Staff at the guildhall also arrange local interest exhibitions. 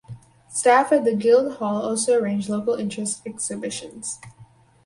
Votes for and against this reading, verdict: 2, 2, rejected